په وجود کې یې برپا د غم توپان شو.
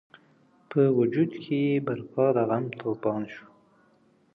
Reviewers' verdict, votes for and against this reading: accepted, 2, 1